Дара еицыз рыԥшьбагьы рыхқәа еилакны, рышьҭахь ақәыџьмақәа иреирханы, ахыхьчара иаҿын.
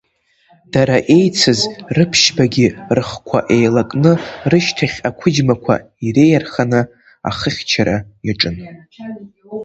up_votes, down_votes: 0, 2